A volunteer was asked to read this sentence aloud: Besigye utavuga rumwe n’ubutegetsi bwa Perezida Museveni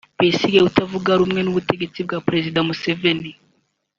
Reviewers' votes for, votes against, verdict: 2, 0, accepted